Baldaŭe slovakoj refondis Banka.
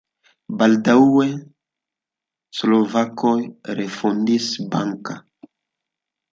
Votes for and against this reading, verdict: 2, 0, accepted